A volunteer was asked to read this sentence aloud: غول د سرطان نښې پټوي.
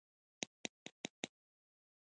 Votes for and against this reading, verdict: 0, 3, rejected